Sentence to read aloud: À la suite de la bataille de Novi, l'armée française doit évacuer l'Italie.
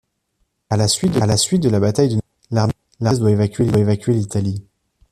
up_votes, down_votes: 0, 2